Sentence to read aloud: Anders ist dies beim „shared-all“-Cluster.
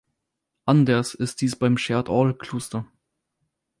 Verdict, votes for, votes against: rejected, 0, 4